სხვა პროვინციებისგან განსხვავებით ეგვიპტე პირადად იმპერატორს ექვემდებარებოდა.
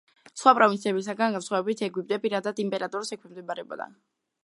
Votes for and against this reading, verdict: 2, 1, accepted